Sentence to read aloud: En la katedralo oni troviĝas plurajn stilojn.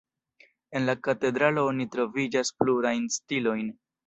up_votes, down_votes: 2, 0